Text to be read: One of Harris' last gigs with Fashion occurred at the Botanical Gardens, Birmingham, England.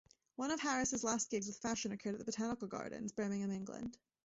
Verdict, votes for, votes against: rejected, 1, 2